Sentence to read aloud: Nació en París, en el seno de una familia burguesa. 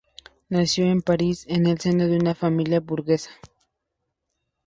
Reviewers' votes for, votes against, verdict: 2, 0, accepted